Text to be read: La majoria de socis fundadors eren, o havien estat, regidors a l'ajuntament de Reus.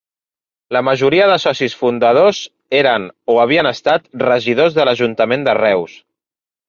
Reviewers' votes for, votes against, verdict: 0, 2, rejected